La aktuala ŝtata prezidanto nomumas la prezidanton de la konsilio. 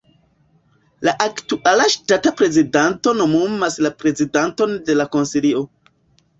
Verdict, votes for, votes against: rejected, 0, 2